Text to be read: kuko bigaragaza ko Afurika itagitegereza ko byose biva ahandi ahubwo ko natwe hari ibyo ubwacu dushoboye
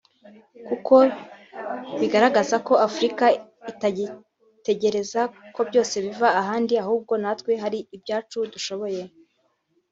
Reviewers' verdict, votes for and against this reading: rejected, 0, 2